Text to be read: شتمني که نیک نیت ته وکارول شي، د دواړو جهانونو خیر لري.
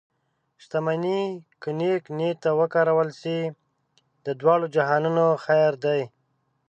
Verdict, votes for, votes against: rejected, 0, 2